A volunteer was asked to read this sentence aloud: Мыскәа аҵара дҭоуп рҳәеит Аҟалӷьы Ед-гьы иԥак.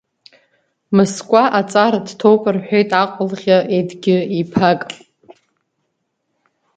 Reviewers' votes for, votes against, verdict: 2, 0, accepted